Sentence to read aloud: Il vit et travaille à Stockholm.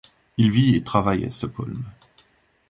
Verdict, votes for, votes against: accepted, 2, 0